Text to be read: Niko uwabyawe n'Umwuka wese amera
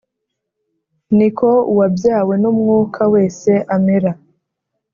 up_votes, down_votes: 2, 0